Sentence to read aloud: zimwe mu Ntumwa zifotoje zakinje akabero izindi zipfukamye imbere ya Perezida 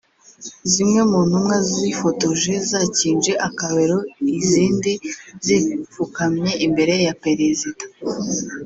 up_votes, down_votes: 0, 2